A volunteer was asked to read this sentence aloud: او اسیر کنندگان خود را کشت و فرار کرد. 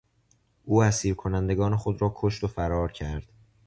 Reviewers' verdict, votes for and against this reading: accepted, 2, 0